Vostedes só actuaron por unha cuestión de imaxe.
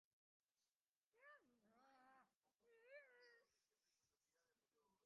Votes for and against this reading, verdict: 0, 2, rejected